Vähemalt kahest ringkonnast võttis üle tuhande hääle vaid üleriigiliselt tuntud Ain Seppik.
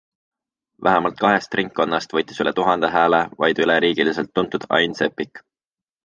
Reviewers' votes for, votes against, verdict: 2, 0, accepted